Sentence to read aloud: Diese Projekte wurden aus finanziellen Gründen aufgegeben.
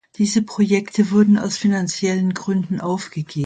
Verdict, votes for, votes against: accepted, 2, 1